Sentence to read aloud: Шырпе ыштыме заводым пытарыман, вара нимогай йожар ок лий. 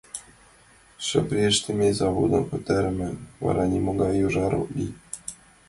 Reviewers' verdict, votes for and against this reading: accepted, 2, 1